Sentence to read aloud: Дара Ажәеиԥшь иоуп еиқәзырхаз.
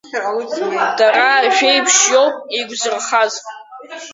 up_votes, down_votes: 0, 2